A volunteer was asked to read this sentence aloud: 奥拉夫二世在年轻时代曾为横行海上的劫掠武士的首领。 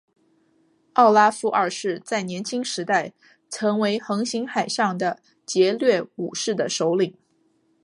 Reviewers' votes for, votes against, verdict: 3, 2, accepted